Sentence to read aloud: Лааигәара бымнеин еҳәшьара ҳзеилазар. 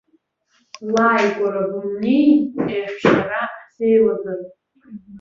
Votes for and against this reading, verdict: 2, 1, accepted